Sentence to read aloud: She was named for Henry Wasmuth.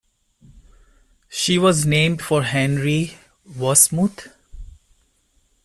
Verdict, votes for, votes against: accepted, 2, 0